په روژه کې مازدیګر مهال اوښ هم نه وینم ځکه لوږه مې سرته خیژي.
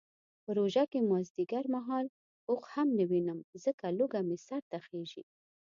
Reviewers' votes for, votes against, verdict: 2, 0, accepted